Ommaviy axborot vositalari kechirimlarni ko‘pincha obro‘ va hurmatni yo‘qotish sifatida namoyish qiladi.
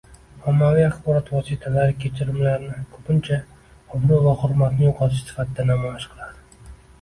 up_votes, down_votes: 2, 0